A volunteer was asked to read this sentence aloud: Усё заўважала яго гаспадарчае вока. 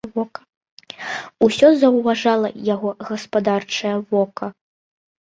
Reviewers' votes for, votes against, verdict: 0, 2, rejected